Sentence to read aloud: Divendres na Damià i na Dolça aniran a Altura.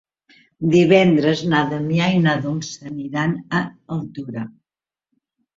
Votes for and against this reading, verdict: 4, 0, accepted